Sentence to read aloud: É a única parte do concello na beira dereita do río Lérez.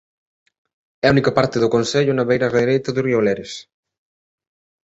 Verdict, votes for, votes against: accepted, 2, 0